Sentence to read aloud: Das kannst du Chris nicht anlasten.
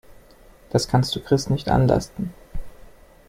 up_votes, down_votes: 2, 0